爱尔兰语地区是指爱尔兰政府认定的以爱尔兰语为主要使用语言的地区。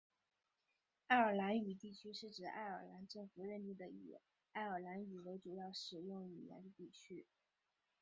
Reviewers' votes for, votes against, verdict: 1, 3, rejected